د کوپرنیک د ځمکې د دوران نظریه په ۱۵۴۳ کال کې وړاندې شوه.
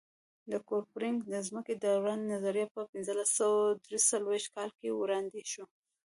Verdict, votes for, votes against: rejected, 0, 2